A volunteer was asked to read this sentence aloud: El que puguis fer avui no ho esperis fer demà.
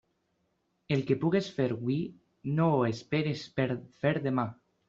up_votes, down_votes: 1, 2